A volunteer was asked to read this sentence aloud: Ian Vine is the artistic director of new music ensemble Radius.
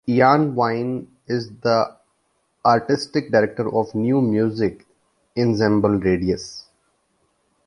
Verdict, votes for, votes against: accepted, 2, 1